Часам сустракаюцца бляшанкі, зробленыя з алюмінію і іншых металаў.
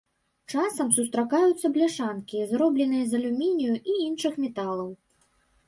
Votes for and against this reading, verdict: 2, 0, accepted